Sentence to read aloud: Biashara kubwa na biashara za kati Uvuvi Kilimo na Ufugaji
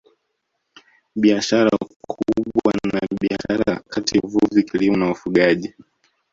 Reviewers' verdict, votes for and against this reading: rejected, 1, 2